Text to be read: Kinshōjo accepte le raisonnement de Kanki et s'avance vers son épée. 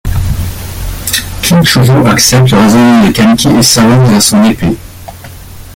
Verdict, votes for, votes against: rejected, 0, 2